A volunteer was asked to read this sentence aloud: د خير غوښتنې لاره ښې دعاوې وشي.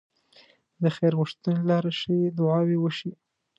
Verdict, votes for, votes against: accepted, 2, 0